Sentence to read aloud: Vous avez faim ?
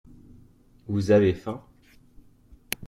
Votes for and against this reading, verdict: 2, 0, accepted